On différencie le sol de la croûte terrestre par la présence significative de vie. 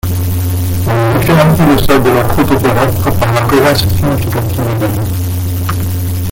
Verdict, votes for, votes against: rejected, 0, 2